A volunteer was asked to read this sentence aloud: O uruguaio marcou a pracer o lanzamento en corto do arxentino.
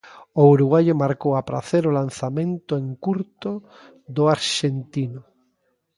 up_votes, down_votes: 0, 2